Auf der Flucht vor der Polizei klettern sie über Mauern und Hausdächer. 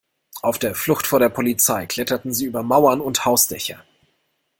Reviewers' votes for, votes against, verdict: 1, 2, rejected